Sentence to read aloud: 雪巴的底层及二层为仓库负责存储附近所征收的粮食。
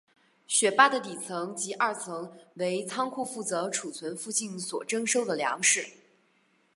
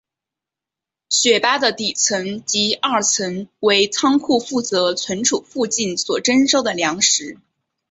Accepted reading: second